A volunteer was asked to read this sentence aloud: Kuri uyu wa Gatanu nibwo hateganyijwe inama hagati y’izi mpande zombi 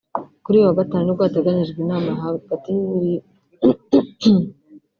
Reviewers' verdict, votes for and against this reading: rejected, 0, 4